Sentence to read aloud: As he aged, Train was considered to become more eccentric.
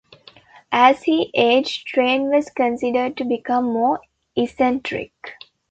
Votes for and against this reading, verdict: 2, 0, accepted